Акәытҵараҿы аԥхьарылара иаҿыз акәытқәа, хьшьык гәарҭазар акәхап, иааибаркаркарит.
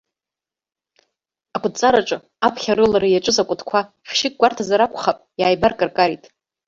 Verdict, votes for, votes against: rejected, 0, 2